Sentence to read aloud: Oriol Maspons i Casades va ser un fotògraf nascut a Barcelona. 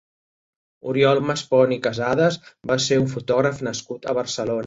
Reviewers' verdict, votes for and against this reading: accepted, 2, 1